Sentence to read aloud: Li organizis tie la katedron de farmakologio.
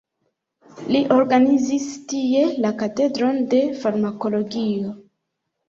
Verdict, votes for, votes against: rejected, 1, 2